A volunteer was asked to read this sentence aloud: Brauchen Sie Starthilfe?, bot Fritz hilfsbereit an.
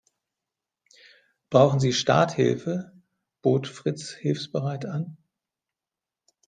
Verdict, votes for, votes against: accepted, 2, 1